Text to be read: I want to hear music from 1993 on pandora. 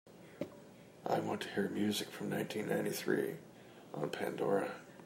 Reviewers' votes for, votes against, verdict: 0, 2, rejected